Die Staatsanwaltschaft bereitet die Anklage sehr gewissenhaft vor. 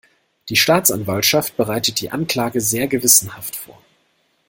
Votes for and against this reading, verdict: 3, 0, accepted